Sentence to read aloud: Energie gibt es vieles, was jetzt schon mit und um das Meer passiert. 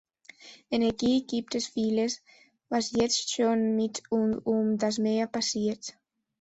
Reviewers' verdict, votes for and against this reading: rejected, 1, 2